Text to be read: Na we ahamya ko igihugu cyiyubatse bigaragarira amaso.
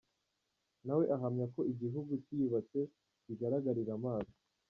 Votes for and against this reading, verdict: 2, 1, accepted